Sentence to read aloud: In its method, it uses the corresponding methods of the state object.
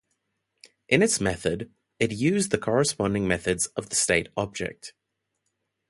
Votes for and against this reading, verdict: 1, 2, rejected